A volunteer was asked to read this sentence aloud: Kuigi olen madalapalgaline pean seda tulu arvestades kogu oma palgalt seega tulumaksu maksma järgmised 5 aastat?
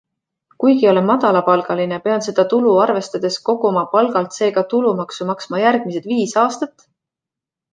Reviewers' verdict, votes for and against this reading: rejected, 0, 2